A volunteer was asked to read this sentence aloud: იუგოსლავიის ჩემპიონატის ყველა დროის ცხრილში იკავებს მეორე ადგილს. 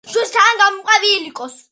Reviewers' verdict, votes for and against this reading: rejected, 0, 2